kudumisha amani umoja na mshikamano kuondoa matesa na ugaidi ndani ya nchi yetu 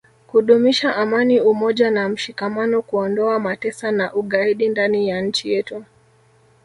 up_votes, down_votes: 2, 0